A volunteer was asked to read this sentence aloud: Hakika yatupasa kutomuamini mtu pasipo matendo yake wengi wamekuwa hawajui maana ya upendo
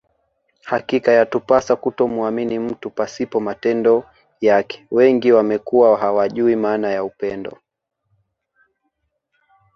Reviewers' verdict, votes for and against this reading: rejected, 0, 2